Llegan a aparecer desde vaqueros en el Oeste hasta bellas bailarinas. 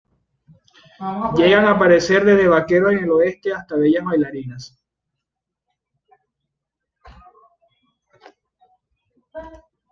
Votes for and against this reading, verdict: 2, 0, accepted